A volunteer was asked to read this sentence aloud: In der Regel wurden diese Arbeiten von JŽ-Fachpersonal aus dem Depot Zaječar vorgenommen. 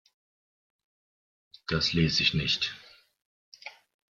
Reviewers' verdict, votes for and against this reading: rejected, 0, 2